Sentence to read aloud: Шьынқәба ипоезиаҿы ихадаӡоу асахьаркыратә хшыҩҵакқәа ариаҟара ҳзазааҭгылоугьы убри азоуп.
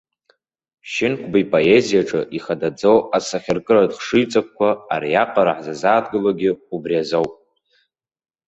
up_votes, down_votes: 0, 2